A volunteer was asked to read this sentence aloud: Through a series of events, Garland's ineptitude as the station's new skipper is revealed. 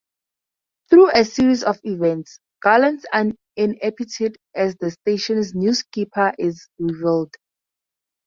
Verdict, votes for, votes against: rejected, 2, 4